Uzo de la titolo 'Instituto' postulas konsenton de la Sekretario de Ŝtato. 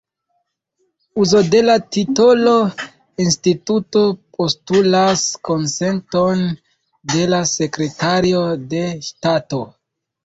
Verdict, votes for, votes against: rejected, 1, 2